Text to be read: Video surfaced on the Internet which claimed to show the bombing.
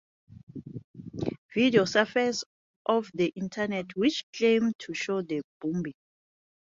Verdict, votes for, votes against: rejected, 0, 2